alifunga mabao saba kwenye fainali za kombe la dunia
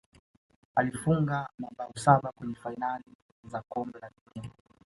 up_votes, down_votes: 2, 0